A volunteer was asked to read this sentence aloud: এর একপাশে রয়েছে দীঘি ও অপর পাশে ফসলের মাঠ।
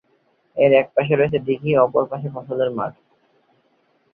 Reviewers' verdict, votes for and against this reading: accepted, 5, 0